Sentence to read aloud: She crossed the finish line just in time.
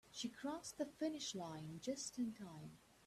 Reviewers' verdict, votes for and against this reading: rejected, 0, 2